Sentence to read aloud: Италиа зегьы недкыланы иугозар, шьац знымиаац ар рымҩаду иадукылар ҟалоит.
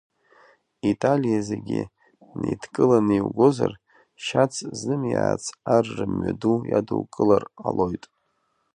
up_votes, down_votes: 2, 1